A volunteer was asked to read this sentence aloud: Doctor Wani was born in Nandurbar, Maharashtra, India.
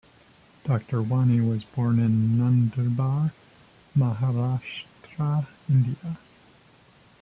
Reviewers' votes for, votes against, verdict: 2, 1, accepted